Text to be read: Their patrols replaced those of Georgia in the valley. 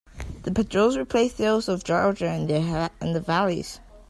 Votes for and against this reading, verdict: 0, 2, rejected